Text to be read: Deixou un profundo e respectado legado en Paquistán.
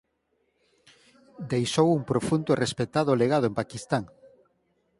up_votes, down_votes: 6, 0